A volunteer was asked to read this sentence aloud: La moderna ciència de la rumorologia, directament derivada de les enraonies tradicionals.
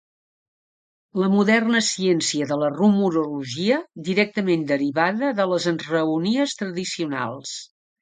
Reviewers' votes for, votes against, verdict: 3, 0, accepted